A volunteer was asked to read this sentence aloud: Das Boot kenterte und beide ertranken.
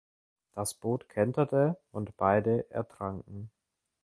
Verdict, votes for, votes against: accepted, 2, 0